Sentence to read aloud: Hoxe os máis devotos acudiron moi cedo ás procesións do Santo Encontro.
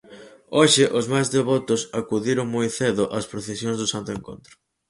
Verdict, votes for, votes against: accepted, 4, 0